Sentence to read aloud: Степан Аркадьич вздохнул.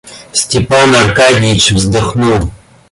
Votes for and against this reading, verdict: 2, 0, accepted